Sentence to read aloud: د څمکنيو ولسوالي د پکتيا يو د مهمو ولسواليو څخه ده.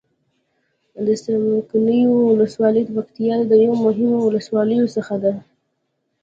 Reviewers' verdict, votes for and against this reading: accepted, 2, 0